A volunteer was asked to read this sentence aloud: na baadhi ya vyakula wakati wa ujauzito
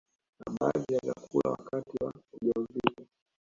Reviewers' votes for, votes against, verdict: 2, 1, accepted